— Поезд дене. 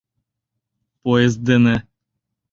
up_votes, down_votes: 2, 0